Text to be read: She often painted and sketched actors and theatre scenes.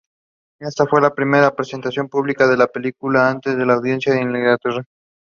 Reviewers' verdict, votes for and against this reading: rejected, 0, 2